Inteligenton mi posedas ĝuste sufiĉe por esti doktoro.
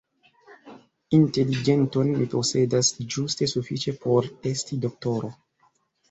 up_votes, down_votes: 1, 2